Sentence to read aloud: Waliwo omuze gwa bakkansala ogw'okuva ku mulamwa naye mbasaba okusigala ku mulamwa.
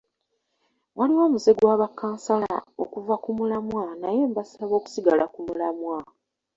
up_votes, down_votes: 2, 0